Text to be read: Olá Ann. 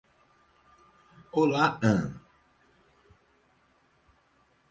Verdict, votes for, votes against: rejected, 2, 4